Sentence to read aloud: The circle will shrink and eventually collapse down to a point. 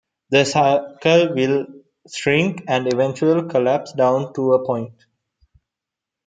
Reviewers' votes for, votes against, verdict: 2, 0, accepted